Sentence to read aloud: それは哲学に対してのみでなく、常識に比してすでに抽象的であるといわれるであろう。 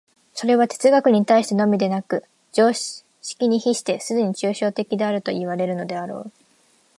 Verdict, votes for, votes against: rejected, 1, 2